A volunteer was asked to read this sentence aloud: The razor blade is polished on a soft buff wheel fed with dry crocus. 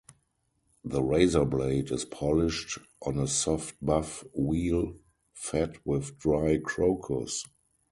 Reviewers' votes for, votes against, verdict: 2, 0, accepted